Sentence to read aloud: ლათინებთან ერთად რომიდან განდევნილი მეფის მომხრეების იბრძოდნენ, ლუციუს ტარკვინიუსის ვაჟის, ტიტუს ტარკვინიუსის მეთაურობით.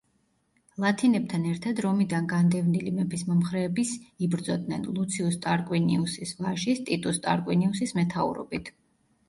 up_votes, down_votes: 2, 0